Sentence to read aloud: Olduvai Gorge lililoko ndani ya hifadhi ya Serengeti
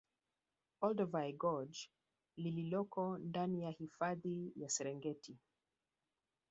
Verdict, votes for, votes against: accepted, 3, 1